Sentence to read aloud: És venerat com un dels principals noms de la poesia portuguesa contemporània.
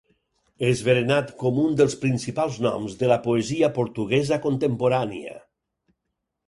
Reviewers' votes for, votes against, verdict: 2, 4, rejected